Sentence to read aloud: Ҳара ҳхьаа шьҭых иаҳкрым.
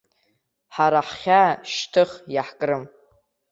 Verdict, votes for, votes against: accepted, 2, 0